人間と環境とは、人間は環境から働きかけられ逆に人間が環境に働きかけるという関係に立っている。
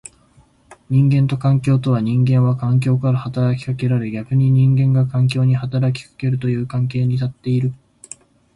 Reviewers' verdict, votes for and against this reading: accepted, 2, 0